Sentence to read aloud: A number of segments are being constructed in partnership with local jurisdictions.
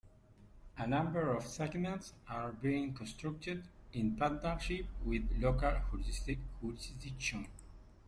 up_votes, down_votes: 0, 2